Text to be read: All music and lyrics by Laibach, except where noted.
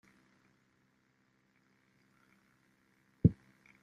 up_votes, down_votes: 0, 2